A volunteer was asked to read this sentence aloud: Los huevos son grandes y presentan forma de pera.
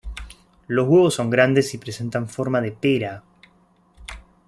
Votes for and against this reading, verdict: 2, 0, accepted